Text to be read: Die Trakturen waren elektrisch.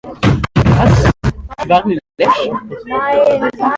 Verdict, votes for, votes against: rejected, 0, 2